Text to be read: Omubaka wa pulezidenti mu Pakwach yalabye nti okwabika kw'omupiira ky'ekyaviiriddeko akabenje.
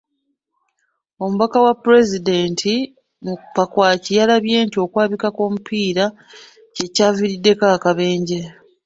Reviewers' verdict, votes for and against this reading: accepted, 2, 0